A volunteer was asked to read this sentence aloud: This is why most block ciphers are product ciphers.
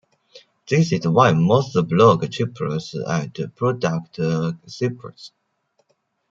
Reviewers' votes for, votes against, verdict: 0, 2, rejected